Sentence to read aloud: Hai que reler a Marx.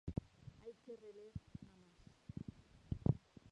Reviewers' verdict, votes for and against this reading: rejected, 0, 2